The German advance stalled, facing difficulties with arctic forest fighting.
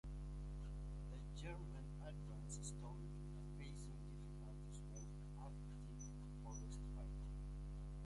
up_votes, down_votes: 1, 2